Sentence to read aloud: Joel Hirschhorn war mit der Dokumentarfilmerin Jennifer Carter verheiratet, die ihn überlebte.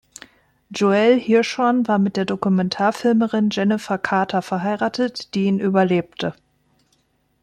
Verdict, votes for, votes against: accepted, 2, 0